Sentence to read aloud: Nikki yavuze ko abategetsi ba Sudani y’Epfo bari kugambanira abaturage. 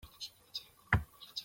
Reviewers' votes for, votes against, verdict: 0, 2, rejected